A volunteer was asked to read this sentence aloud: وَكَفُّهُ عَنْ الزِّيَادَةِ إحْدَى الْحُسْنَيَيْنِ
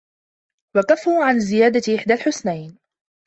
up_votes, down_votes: 1, 2